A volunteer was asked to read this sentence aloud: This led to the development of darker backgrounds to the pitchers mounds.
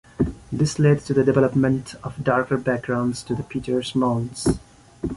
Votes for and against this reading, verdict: 3, 0, accepted